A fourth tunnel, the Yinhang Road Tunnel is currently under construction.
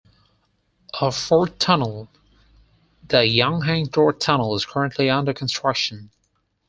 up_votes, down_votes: 4, 2